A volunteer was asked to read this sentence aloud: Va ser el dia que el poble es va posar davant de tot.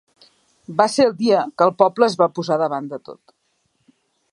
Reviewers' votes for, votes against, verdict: 3, 0, accepted